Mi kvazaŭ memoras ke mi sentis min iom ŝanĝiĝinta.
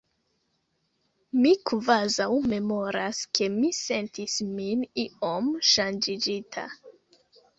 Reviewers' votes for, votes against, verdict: 1, 3, rejected